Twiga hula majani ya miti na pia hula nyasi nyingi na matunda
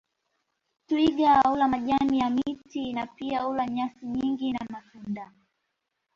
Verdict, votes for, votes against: rejected, 0, 2